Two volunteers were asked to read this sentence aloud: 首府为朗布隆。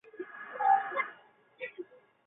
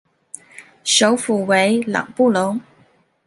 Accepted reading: second